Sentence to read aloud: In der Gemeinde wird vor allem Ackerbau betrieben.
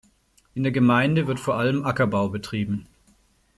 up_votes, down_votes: 2, 0